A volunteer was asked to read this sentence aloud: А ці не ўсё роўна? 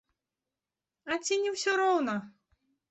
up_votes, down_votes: 2, 0